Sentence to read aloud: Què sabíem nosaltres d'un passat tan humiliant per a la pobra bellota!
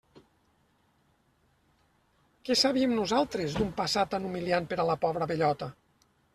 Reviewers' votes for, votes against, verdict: 2, 1, accepted